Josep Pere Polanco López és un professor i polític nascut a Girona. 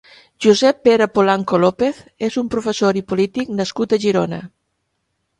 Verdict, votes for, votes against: accepted, 3, 0